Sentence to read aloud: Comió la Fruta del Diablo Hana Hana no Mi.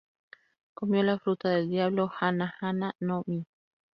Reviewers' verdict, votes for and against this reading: rejected, 0, 2